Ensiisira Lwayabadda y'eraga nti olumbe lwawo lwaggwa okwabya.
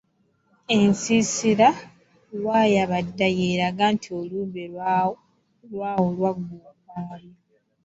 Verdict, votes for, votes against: rejected, 1, 2